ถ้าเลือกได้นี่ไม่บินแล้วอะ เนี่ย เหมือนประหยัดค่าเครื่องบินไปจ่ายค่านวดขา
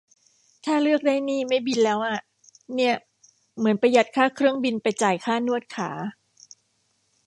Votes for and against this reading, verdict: 2, 0, accepted